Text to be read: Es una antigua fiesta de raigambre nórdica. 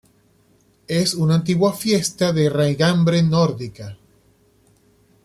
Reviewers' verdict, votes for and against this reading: accepted, 2, 0